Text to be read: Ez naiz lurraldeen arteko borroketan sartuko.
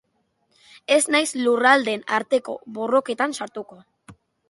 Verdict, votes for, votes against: accepted, 2, 0